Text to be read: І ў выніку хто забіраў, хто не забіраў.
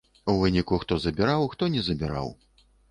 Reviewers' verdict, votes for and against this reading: rejected, 0, 2